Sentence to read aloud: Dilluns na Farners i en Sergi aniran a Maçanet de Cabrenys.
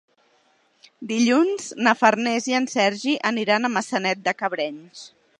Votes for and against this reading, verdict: 3, 0, accepted